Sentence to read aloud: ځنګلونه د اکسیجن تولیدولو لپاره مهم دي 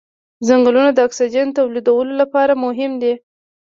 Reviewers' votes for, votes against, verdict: 0, 2, rejected